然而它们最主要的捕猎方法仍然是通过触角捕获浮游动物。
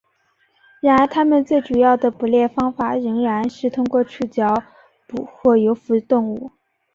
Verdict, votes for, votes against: accepted, 2, 1